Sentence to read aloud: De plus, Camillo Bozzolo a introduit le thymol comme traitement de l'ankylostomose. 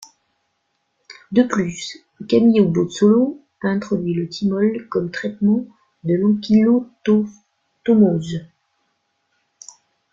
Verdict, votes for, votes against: rejected, 0, 2